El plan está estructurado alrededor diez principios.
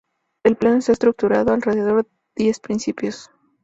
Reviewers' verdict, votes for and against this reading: accepted, 4, 0